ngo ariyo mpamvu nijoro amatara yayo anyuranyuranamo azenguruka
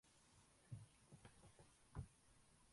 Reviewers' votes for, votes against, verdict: 0, 2, rejected